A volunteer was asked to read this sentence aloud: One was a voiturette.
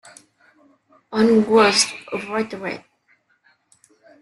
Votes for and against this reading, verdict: 0, 2, rejected